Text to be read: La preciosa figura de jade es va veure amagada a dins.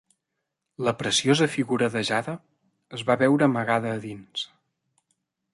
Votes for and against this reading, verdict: 2, 1, accepted